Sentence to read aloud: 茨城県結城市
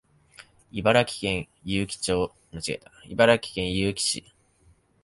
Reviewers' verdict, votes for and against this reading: rejected, 1, 2